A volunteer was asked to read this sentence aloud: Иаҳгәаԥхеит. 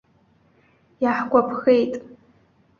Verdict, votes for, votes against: accepted, 2, 0